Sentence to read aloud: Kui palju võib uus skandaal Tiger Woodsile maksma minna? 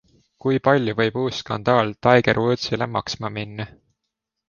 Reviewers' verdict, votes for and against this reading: accepted, 2, 0